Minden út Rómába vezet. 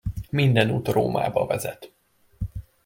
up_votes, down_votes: 2, 0